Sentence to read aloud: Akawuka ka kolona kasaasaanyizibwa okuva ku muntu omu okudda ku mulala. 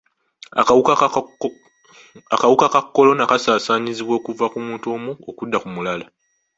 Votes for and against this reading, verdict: 0, 2, rejected